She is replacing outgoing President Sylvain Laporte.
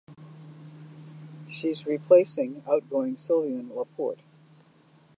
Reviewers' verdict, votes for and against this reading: rejected, 0, 2